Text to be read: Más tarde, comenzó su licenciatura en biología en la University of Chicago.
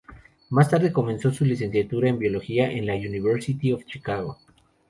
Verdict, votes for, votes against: accepted, 2, 0